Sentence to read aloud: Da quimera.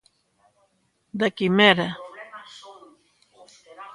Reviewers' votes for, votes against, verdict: 2, 0, accepted